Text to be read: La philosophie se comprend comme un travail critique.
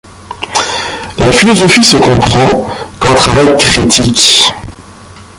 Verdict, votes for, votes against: rejected, 0, 2